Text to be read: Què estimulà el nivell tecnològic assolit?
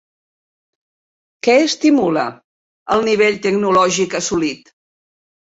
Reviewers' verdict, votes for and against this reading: rejected, 1, 2